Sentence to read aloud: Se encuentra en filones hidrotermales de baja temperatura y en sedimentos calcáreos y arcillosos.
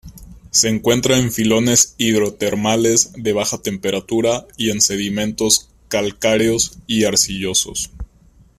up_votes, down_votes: 2, 0